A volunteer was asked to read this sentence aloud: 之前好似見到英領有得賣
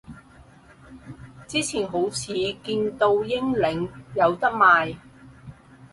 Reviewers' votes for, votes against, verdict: 4, 0, accepted